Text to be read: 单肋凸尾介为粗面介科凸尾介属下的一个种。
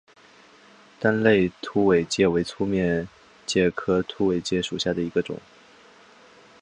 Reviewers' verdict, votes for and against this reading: accepted, 5, 0